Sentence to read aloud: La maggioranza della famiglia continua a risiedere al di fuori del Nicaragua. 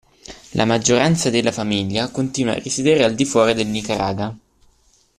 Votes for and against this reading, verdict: 0, 2, rejected